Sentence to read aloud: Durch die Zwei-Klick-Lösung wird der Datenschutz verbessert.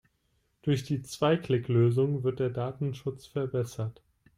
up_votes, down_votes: 2, 0